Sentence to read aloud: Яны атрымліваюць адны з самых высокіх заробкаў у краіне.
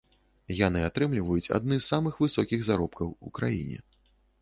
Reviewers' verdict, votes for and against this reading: accepted, 2, 0